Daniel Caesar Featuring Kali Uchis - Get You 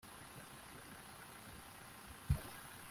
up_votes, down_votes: 0, 2